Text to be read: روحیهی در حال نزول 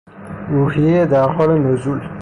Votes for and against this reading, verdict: 0, 3, rejected